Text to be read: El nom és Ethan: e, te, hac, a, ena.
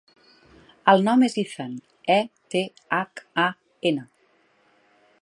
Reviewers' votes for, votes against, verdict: 2, 0, accepted